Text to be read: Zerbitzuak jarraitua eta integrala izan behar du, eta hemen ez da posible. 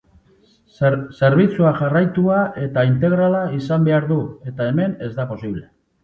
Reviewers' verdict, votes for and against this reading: rejected, 0, 2